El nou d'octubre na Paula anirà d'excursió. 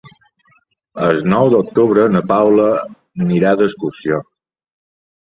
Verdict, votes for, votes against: accepted, 3, 0